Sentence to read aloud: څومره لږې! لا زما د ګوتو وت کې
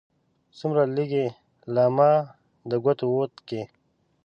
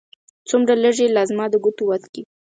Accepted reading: second